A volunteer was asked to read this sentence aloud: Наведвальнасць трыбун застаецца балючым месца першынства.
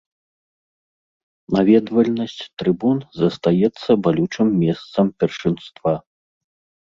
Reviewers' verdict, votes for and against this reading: rejected, 0, 2